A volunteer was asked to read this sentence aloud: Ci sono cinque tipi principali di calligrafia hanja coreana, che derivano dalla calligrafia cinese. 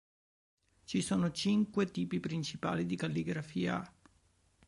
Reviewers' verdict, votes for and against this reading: rejected, 0, 2